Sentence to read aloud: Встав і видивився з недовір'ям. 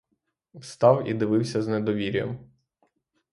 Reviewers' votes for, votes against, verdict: 0, 3, rejected